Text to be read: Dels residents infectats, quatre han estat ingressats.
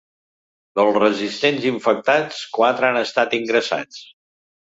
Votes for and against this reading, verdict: 1, 2, rejected